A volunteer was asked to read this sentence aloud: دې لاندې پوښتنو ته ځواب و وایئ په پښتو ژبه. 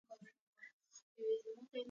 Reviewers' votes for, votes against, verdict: 0, 2, rejected